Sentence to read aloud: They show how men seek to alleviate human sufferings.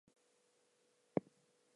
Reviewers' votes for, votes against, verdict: 0, 4, rejected